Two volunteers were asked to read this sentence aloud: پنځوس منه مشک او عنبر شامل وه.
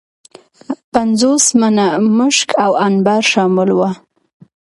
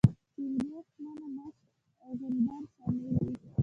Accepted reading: first